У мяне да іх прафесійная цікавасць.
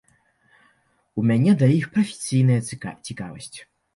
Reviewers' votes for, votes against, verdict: 0, 2, rejected